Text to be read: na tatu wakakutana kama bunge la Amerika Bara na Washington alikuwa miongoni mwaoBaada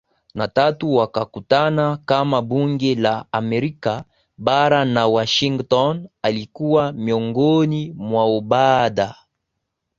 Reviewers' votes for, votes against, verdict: 2, 0, accepted